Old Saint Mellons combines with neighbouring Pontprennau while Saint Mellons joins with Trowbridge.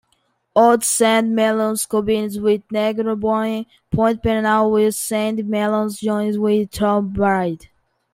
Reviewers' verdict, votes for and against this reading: rejected, 1, 2